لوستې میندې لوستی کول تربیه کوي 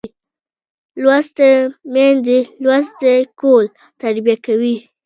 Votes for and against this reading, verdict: 2, 1, accepted